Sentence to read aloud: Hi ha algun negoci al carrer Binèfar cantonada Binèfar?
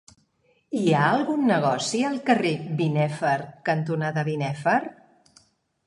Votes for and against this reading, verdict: 2, 0, accepted